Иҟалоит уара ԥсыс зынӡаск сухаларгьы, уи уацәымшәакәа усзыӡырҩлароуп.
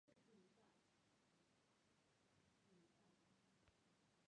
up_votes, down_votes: 0, 2